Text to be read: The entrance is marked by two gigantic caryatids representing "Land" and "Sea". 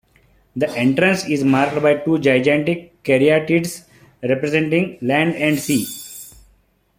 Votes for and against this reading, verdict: 2, 0, accepted